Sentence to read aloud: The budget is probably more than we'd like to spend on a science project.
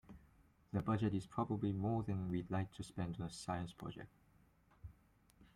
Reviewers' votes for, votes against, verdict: 1, 2, rejected